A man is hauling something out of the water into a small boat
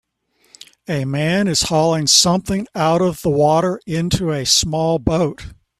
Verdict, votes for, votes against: accepted, 2, 0